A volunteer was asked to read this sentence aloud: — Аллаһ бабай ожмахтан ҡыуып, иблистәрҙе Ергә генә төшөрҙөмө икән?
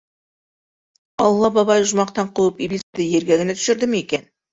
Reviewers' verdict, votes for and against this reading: rejected, 1, 2